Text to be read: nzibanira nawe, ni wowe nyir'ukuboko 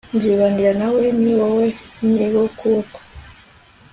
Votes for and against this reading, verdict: 2, 0, accepted